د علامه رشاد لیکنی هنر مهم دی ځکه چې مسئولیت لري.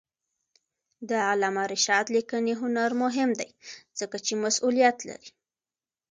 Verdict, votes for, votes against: accepted, 2, 1